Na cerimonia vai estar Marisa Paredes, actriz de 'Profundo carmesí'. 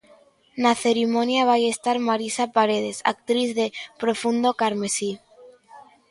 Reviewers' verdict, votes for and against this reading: accepted, 2, 0